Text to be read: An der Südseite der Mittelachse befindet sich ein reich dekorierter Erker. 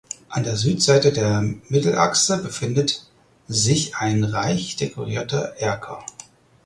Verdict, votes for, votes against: rejected, 2, 4